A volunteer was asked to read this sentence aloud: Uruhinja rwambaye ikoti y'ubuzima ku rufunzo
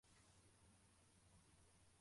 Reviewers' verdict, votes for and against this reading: rejected, 0, 2